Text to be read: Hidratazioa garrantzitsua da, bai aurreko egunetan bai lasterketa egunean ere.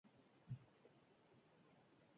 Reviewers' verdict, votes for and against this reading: rejected, 0, 2